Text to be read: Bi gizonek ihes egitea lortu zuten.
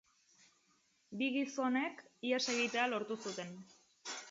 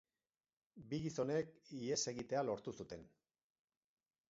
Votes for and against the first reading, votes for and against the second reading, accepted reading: 4, 0, 2, 2, first